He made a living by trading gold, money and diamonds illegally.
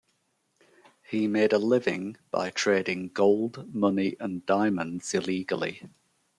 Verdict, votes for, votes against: accepted, 2, 0